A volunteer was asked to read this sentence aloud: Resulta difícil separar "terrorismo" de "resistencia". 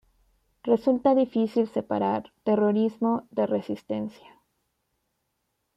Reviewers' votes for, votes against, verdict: 2, 0, accepted